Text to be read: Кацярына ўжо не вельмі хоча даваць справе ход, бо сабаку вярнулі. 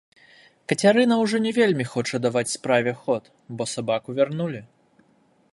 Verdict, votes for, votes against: rejected, 1, 2